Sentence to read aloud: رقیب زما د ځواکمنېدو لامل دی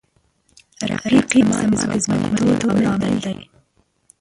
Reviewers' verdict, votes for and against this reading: rejected, 1, 2